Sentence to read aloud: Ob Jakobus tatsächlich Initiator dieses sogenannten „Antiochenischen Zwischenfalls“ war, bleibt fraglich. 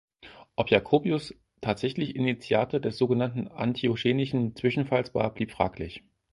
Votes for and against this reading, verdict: 0, 6, rejected